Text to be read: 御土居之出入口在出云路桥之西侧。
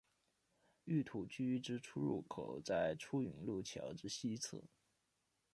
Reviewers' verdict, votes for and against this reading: accepted, 2, 0